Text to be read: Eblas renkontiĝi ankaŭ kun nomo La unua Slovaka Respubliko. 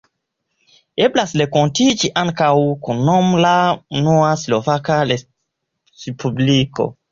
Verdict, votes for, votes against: accepted, 2, 0